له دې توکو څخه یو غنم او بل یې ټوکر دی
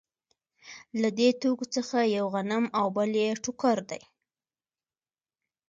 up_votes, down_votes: 2, 0